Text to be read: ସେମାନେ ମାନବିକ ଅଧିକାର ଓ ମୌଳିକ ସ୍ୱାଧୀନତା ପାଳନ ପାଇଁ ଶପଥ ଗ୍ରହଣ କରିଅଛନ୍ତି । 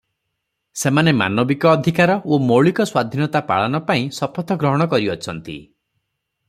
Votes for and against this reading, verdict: 3, 0, accepted